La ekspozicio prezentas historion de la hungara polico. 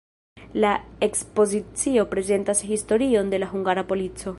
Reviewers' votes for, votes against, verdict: 0, 2, rejected